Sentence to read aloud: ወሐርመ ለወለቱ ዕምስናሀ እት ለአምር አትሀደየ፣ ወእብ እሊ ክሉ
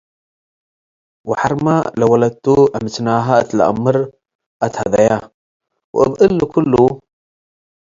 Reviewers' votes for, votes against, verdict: 2, 0, accepted